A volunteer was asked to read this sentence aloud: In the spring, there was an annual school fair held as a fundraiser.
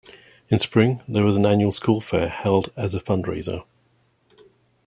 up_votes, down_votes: 0, 2